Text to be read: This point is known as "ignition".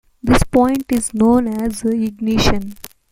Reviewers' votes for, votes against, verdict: 2, 0, accepted